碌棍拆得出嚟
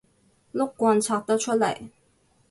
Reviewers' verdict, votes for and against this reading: accepted, 2, 0